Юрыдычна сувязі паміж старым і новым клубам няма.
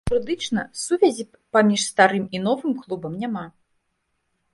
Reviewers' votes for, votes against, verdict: 1, 2, rejected